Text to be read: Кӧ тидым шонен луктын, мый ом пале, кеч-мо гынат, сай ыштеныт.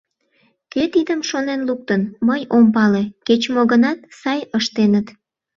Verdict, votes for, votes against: accepted, 2, 0